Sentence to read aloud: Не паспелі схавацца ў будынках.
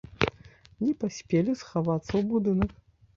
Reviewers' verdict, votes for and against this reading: rejected, 0, 2